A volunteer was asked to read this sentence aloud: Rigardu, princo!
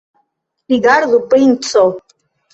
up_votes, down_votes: 1, 2